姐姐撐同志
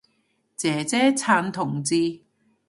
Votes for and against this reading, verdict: 2, 0, accepted